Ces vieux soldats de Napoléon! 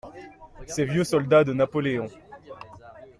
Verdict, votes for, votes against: accepted, 2, 0